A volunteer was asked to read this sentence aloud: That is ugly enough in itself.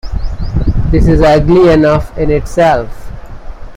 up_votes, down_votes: 0, 2